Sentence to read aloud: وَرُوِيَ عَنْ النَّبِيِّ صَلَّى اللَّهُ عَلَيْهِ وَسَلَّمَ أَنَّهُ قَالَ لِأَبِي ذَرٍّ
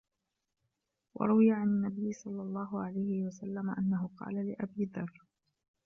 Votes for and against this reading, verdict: 2, 0, accepted